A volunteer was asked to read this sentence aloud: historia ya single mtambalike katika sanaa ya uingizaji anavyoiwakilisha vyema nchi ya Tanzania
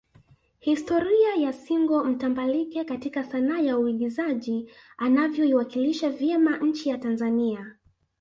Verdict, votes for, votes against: accepted, 2, 0